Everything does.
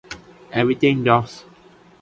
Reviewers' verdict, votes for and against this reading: rejected, 1, 2